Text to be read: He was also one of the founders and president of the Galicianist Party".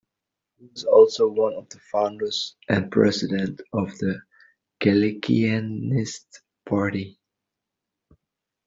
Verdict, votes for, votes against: rejected, 0, 2